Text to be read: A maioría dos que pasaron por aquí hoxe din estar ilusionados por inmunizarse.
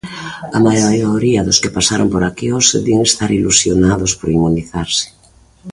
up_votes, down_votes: 0, 2